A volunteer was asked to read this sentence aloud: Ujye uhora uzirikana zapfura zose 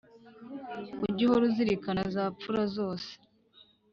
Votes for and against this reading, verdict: 2, 0, accepted